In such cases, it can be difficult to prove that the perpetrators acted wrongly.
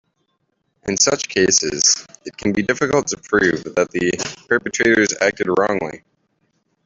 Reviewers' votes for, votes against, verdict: 2, 1, accepted